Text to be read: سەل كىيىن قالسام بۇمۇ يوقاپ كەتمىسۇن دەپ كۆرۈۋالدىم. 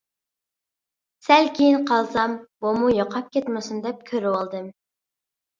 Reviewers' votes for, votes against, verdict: 2, 0, accepted